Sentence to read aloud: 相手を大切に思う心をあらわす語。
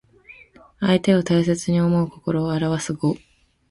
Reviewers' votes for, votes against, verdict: 2, 0, accepted